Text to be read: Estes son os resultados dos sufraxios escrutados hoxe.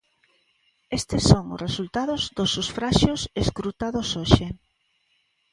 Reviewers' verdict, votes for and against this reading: rejected, 0, 2